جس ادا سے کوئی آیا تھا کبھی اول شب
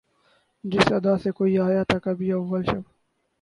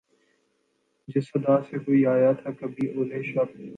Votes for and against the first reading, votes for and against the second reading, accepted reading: 0, 4, 2, 0, second